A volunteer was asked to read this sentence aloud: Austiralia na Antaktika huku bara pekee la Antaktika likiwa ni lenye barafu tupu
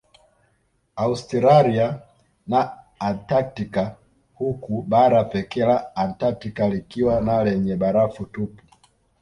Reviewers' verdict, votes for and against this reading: accepted, 2, 0